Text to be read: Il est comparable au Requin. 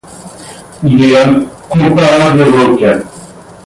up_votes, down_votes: 0, 2